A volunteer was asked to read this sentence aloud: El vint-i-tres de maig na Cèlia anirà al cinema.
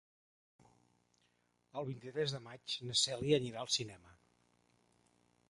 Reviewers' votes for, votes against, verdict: 3, 0, accepted